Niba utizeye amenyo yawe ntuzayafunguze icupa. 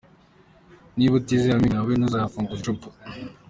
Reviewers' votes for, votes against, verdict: 3, 1, accepted